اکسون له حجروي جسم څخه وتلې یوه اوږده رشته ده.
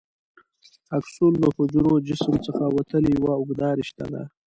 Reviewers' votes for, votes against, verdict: 0, 2, rejected